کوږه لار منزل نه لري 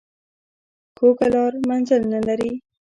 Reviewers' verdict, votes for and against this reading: accepted, 2, 0